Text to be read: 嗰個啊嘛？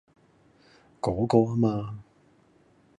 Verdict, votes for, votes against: rejected, 1, 2